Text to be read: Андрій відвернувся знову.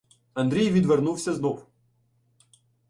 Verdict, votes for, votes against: rejected, 0, 2